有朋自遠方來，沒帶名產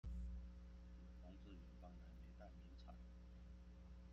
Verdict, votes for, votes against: rejected, 0, 2